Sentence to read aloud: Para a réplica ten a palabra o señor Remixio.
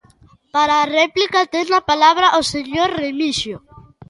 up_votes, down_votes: 2, 0